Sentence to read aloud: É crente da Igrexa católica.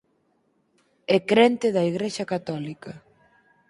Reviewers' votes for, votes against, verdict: 4, 0, accepted